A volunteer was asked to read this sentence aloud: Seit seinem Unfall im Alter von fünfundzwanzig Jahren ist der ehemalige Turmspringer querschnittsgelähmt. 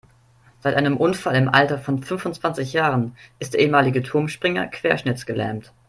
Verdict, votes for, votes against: rejected, 0, 2